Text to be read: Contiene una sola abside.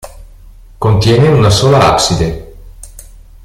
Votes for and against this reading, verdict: 2, 0, accepted